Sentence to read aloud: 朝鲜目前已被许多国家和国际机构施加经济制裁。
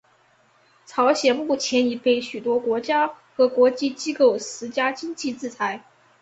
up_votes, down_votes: 5, 0